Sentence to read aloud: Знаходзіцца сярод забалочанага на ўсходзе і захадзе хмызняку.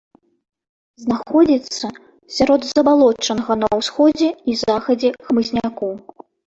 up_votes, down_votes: 1, 2